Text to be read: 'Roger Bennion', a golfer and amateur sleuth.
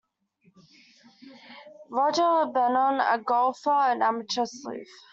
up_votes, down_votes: 1, 2